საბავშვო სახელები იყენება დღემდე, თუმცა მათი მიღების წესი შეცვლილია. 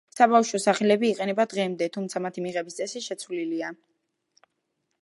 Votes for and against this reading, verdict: 2, 0, accepted